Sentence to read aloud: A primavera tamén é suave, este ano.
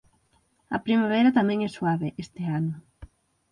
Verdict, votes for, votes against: accepted, 6, 0